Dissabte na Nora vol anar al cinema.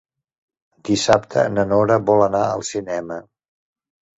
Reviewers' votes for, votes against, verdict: 3, 0, accepted